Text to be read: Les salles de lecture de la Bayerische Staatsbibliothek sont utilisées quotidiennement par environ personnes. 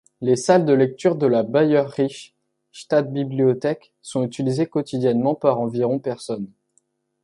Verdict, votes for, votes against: accepted, 2, 0